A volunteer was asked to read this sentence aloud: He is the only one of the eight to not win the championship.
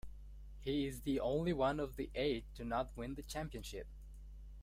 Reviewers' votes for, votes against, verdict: 1, 2, rejected